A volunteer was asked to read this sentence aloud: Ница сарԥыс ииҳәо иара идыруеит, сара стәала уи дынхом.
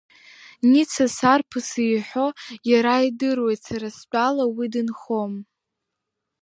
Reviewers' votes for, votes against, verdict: 2, 1, accepted